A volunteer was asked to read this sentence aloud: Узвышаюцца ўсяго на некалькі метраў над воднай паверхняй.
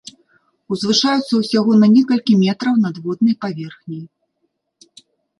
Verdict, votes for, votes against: accepted, 2, 0